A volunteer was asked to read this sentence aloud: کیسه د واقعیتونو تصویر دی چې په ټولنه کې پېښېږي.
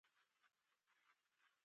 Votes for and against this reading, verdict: 0, 2, rejected